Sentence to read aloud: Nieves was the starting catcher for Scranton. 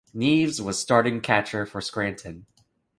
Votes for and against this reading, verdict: 2, 3, rejected